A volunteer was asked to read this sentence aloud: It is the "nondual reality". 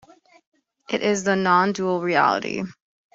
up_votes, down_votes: 2, 0